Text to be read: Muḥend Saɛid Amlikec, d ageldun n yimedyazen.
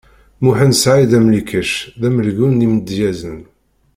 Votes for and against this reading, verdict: 0, 2, rejected